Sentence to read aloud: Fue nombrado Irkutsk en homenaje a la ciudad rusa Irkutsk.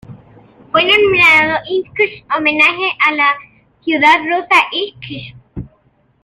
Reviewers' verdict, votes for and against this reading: rejected, 0, 2